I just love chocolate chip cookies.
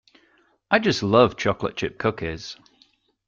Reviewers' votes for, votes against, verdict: 2, 1, accepted